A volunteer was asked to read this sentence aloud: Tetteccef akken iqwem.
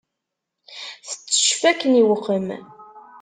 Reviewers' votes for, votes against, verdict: 1, 2, rejected